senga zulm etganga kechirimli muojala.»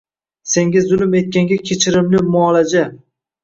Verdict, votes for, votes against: rejected, 1, 2